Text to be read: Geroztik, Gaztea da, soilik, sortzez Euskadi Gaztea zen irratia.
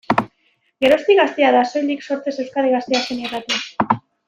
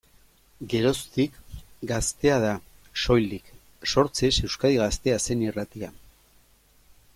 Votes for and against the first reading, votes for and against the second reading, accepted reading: 0, 2, 2, 0, second